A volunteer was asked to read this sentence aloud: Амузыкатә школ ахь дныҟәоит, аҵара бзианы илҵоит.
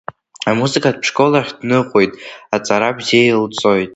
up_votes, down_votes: 2, 1